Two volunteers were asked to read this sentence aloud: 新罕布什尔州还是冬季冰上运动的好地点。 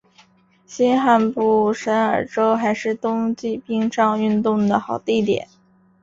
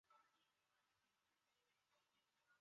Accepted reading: first